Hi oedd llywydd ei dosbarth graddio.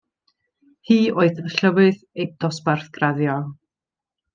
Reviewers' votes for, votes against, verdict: 2, 0, accepted